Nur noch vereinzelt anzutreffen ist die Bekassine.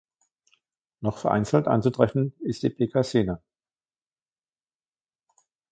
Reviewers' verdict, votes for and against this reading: rejected, 0, 2